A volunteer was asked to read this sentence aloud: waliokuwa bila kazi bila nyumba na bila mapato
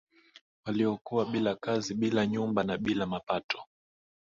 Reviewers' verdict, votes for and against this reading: accepted, 2, 1